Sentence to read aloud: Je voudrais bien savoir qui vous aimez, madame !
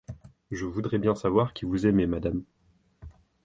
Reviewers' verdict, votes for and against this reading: accepted, 2, 0